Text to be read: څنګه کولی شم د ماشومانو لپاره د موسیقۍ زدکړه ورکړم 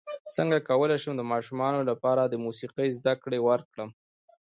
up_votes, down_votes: 1, 2